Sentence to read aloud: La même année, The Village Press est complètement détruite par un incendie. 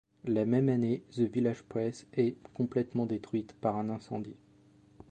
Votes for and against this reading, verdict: 2, 0, accepted